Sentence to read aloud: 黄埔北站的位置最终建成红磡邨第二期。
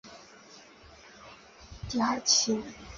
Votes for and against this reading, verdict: 0, 5, rejected